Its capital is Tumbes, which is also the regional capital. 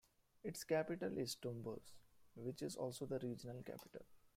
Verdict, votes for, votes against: accepted, 2, 1